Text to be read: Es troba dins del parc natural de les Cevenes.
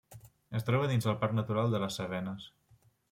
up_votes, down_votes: 2, 0